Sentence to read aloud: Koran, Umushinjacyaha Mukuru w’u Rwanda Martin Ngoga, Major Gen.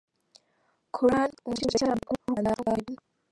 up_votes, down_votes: 0, 2